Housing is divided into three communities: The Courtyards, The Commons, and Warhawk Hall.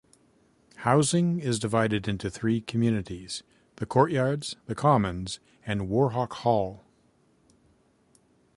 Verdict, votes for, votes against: accepted, 2, 0